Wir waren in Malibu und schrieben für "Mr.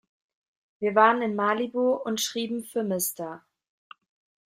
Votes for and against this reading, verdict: 2, 0, accepted